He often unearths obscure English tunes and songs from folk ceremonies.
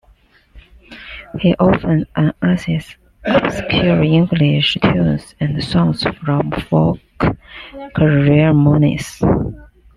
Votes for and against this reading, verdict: 0, 2, rejected